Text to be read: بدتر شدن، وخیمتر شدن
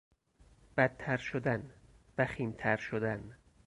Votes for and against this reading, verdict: 4, 0, accepted